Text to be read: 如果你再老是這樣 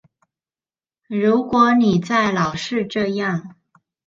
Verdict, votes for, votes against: accepted, 2, 0